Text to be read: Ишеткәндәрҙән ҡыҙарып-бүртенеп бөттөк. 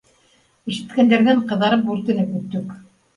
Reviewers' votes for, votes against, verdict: 2, 0, accepted